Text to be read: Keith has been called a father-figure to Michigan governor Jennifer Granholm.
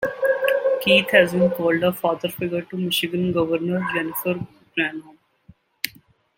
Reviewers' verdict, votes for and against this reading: rejected, 1, 2